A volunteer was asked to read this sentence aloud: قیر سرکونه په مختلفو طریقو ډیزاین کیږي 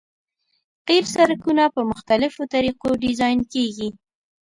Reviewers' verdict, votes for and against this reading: accepted, 2, 0